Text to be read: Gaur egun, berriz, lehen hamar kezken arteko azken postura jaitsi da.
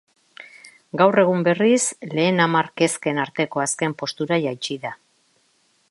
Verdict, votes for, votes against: accepted, 2, 0